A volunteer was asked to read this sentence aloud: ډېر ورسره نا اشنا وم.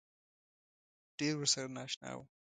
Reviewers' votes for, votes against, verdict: 2, 0, accepted